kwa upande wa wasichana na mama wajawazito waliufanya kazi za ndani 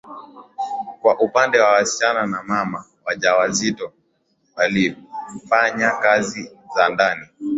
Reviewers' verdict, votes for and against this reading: accepted, 2, 0